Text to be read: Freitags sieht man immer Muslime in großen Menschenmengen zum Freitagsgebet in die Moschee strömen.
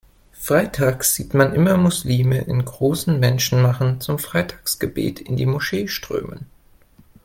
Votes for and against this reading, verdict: 0, 2, rejected